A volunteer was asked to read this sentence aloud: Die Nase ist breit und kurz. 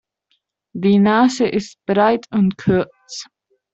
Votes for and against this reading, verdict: 2, 0, accepted